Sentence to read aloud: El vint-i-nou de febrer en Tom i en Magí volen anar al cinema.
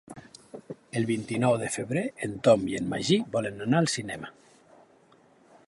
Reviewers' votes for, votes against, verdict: 2, 0, accepted